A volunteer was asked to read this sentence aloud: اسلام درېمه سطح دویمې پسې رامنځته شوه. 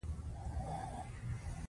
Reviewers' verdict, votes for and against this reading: rejected, 1, 2